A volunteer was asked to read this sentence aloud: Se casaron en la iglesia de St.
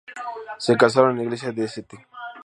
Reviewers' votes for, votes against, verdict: 2, 0, accepted